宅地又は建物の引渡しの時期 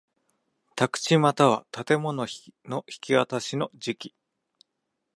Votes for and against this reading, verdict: 2, 0, accepted